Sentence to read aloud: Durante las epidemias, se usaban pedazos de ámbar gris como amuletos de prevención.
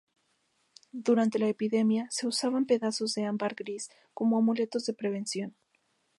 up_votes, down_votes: 0, 2